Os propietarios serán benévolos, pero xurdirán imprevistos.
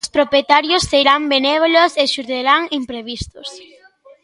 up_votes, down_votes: 0, 2